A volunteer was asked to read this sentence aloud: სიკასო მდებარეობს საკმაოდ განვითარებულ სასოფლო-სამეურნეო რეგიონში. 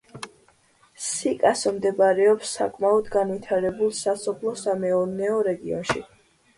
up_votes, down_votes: 2, 0